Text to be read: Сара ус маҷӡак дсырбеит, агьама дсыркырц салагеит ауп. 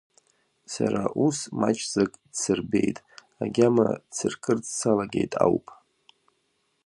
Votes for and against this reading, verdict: 2, 0, accepted